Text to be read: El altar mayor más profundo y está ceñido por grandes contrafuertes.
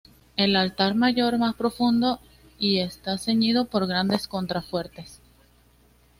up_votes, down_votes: 3, 0